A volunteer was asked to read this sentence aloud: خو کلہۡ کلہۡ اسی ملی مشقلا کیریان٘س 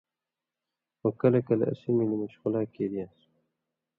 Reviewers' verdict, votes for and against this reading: accepted, 2, 0